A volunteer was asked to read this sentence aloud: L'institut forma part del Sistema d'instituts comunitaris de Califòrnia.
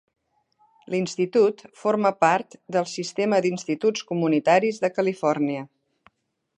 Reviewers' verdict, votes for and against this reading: accepted, 2, 0